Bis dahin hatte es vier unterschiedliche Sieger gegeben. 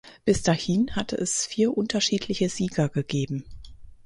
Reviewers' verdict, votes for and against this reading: rejected, 2, 4